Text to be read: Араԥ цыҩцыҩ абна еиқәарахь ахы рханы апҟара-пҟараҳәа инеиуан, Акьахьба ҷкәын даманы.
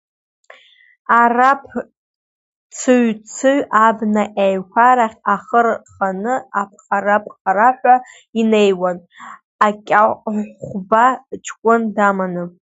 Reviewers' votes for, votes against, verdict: 1, 2, rejected